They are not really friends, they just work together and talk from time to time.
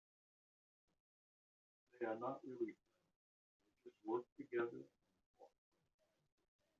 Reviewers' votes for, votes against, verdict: 1, 2, rejected